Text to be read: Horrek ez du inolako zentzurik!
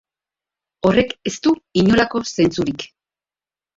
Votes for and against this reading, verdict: 1, 2, rejected